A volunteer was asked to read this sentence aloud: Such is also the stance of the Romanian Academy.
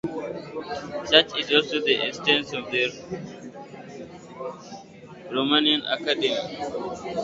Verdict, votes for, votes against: accepted, 2, 0